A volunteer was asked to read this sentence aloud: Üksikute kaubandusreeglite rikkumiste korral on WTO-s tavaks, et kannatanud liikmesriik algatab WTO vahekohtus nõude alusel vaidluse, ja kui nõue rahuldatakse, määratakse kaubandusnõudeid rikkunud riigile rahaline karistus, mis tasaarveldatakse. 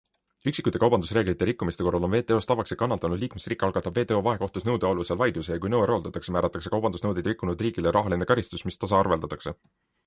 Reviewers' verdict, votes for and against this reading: accepted, 2, 0